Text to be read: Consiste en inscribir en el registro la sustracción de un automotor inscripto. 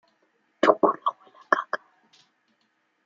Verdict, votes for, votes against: rejected, 0, 2